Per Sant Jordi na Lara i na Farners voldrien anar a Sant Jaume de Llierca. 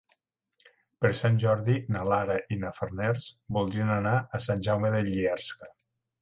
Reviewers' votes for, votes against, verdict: 1, 2, rejected